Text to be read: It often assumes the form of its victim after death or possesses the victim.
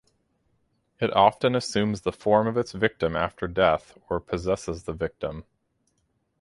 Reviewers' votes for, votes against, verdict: 4, 0, accepted